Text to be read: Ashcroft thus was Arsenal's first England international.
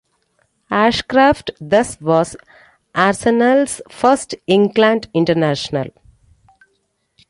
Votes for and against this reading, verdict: 0, 2, rejected